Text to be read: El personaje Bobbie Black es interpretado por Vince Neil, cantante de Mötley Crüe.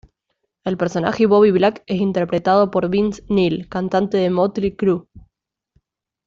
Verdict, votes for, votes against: accepted, 2, 0